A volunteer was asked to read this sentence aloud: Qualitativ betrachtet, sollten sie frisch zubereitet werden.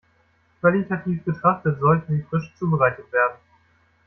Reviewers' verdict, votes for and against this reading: rejected, 1, 2